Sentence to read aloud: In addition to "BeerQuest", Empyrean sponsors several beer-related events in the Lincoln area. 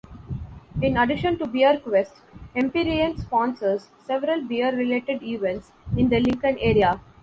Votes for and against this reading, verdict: 2, 0, accepted